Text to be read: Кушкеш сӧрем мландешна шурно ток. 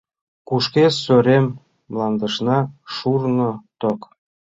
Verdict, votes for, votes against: accepted, 2, 0